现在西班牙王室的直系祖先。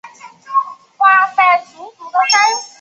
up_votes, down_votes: 1, 2